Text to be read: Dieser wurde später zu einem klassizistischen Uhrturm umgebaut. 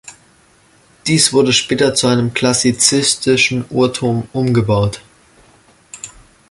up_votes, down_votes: 0, 2